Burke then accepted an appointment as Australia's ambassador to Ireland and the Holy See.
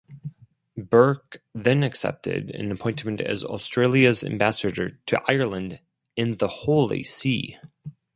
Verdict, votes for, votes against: rejected, 2, 2